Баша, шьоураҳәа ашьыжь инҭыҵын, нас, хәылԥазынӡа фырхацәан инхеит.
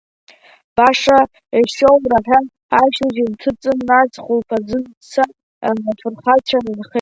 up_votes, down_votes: 0, 2